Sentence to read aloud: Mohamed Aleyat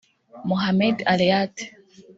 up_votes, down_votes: 1, 2